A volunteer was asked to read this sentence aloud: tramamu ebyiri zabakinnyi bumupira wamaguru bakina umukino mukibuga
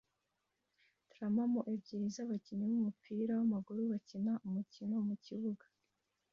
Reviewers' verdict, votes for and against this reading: accepted, 2, 1